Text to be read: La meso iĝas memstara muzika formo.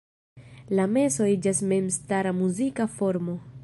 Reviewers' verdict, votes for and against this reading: accepted, 2, 0